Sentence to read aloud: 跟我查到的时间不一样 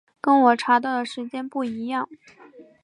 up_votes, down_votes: 2, 0